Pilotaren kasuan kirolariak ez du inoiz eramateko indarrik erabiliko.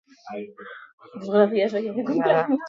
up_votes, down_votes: 0, 2